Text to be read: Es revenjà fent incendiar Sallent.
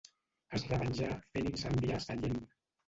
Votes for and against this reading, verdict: 1, 2, rejected